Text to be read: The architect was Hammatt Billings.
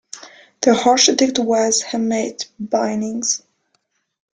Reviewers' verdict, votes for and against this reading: rejected, 1, 2